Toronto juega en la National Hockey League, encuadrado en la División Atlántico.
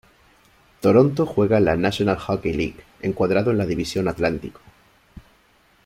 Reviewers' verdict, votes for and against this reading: rejected, 1, 2